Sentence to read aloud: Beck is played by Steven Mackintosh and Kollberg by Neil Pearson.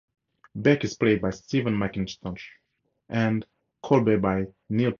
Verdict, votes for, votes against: rejected, 0, 4